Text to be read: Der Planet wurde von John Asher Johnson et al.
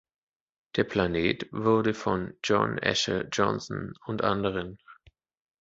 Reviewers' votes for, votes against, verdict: 0, 2, rejected